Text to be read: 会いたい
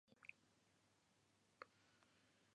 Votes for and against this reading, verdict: 0, 2, rejected